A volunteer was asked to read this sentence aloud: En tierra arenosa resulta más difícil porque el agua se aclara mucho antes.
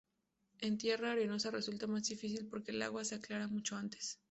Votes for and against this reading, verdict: 2, 0, accepted